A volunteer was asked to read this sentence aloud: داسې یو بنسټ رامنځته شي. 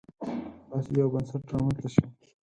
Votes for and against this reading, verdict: 2, 4, rejected